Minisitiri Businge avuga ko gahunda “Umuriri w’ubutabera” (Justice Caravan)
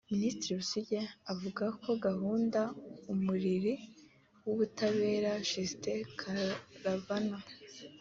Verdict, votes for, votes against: accepted, 2, 1